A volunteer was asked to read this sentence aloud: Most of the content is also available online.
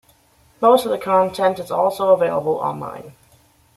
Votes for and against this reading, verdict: 2, 0, accepted